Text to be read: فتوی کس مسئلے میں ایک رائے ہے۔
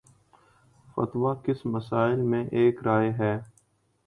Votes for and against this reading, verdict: 2, 0, accepted